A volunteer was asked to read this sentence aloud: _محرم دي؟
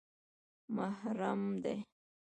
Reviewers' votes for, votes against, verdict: 0, 2, rejected